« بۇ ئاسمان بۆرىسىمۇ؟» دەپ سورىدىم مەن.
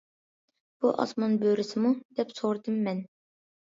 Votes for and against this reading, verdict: 2, 0, accepted